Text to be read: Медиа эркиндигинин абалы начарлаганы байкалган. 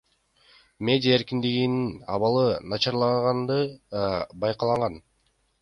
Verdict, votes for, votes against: accepted, 2, 0